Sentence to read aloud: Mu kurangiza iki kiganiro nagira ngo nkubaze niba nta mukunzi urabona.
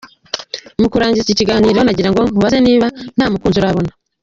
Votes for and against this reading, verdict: 0, 2, rejected